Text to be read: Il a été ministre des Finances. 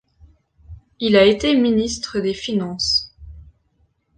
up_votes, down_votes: 2, 0